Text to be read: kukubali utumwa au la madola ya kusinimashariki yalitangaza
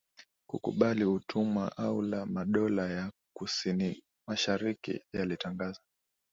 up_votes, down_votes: 3, 0